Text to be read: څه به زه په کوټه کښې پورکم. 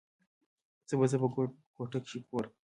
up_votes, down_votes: 1, 2